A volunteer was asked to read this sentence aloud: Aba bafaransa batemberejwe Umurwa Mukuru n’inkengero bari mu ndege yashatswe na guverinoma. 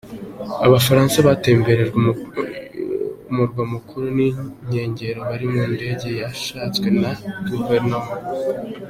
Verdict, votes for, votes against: accepted, 2, 0